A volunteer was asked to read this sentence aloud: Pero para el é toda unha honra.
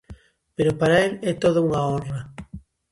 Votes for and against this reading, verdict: 2, 0, accepted